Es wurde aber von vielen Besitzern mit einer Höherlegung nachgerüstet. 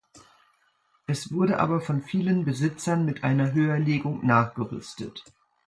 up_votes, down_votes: 2, 0